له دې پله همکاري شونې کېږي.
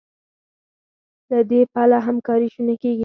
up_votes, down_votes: 4, 2